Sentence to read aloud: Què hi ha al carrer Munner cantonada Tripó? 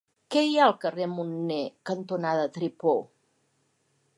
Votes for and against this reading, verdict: 2, 0, accepted